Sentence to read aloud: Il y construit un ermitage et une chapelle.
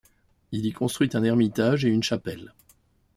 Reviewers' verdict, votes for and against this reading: accepted, 2, 0